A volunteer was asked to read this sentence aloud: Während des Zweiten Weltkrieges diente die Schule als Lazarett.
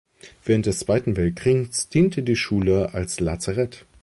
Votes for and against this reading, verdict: 0, 2, rejected